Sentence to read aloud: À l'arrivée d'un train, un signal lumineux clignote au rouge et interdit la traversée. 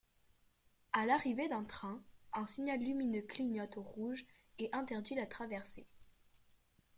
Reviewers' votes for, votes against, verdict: 2, 0, accepted